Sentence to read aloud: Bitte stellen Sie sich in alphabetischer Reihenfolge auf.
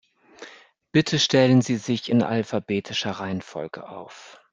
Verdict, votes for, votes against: accepted, 3, 0